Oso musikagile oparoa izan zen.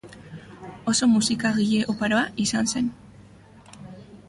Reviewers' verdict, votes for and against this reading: accepted, 2, 0